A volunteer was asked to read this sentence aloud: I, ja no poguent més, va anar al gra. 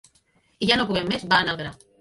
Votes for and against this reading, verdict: 4, 3, accepted